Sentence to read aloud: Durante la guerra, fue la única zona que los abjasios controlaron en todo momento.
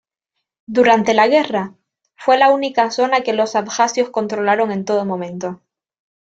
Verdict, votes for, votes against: accepted, 2, 0